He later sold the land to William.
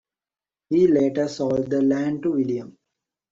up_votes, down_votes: 2, 0